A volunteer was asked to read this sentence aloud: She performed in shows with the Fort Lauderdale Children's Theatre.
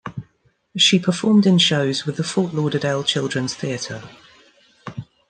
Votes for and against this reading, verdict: 2, 1, accepted